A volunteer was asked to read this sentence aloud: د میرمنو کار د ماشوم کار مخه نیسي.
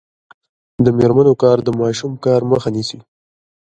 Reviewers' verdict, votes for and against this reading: accepted, 2, 1